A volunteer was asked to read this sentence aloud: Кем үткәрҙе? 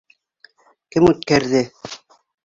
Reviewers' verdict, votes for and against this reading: accepted, 2, 0